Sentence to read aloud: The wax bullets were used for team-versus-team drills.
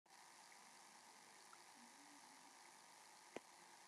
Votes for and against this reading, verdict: 0, 3, rejected